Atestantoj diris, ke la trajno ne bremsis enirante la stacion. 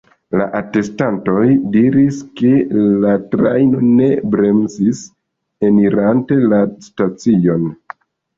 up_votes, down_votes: 2, 1